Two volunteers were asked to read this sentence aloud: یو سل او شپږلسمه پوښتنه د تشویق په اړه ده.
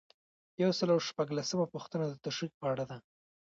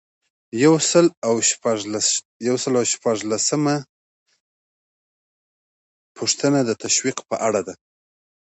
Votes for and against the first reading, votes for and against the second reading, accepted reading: 1, 2, 2, 0, second